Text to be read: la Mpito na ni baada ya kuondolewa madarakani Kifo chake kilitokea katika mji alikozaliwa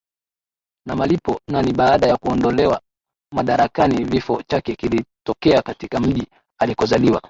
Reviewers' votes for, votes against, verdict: 0, 2, rejected